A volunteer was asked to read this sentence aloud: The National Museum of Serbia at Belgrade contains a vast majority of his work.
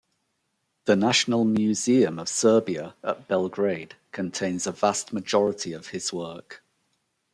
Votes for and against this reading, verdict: 2, 0, accepted